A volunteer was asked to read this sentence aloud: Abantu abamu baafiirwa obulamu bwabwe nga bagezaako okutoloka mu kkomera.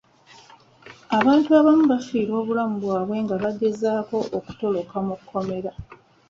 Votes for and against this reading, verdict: 1, 2, rejected